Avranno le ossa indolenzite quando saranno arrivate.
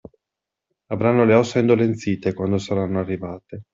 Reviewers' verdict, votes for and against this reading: accepted, 2, 0